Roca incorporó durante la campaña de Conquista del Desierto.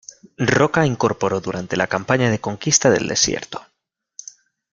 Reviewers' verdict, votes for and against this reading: rejected, 0, 2